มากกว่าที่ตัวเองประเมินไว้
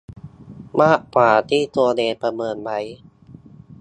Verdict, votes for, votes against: rejected, 1, 2